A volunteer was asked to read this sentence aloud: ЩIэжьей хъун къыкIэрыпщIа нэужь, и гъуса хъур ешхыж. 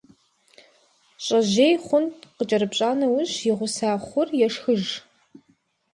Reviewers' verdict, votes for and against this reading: accepted, 2, 0